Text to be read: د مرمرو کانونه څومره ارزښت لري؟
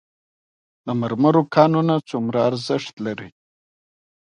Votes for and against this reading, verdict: 2, 0, accepted